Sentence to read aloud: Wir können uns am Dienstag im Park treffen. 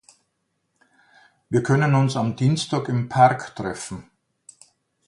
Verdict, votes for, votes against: accepted, 2, 0